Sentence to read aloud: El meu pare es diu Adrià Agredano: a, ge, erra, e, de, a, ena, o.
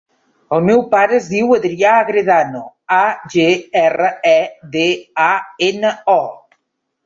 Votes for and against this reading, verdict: 3, 0, accepted